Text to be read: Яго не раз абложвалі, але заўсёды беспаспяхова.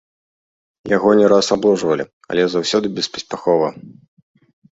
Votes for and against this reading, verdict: 2, 0, accepted